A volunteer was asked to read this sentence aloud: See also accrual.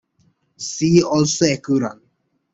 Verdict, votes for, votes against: rejected, 1, 2